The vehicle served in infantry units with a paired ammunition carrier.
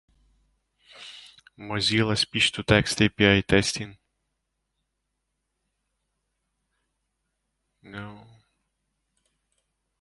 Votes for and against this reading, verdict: 0, 2, rejected